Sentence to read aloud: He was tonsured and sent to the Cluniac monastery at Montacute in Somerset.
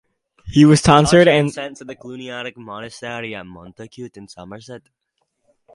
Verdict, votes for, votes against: rejected, 0, 4